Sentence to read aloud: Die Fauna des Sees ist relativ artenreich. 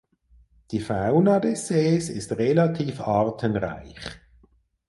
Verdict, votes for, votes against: accepted, 4, 0